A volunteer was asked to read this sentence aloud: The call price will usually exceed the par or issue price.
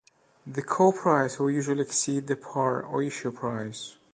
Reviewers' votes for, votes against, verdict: 2, 0, accepted